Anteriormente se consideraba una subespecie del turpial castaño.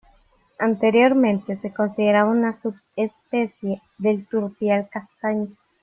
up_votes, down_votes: 2, 0